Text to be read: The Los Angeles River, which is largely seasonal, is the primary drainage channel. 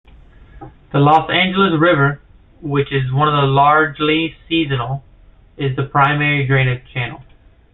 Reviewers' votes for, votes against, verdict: 1, 2, rejected